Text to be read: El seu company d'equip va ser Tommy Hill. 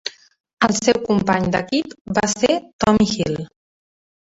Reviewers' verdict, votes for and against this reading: accepted, 3, 1